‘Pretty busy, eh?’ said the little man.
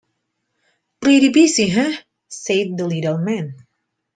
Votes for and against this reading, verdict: 2, 0, accepted